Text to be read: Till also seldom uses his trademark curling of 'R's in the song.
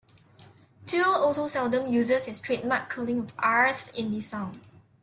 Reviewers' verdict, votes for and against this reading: rejected, 1, 2